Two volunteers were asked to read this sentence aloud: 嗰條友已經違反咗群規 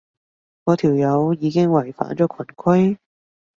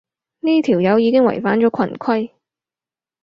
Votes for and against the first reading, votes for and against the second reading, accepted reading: 2, 0, 0, 4, first